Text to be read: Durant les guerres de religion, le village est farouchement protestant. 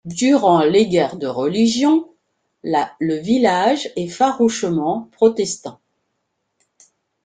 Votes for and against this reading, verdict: 0, 2, rejected